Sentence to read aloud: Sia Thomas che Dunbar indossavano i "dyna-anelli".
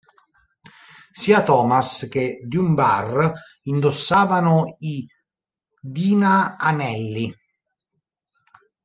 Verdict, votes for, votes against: rejected, 1, 2